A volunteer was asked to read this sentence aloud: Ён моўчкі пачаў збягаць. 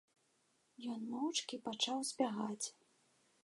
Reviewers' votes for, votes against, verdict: 2, 0, accepted